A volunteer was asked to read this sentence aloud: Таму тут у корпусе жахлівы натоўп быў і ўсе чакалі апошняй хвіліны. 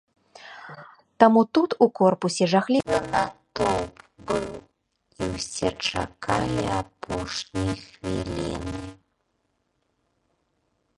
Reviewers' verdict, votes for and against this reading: rejected, 0, 2